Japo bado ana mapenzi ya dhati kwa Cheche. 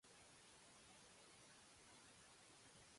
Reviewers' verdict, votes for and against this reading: rejected, 0, 2